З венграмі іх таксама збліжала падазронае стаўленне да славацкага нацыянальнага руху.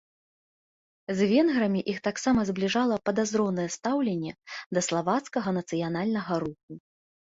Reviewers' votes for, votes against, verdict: 1, 2, rejected